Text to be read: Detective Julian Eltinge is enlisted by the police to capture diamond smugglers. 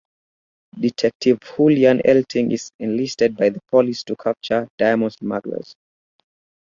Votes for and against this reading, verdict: 4, 0, accepted